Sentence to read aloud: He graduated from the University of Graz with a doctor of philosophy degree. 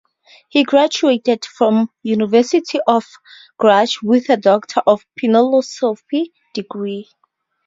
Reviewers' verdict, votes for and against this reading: rejected, 0, 2